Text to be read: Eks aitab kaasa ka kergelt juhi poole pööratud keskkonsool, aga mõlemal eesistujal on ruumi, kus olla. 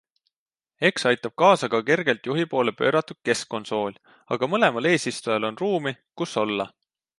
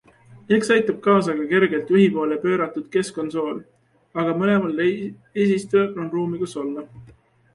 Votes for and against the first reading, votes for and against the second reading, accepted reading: 2, 0, 1, 2, first